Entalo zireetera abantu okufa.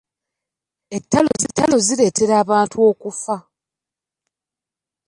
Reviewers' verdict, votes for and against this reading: rejected, 0, 2